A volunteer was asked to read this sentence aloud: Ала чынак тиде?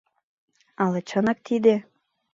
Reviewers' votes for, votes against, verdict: 3, 0, accepted